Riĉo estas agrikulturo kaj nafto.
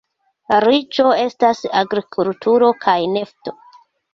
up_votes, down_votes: 0, 2